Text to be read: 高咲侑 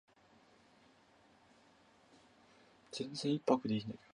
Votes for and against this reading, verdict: 0, 3, rejected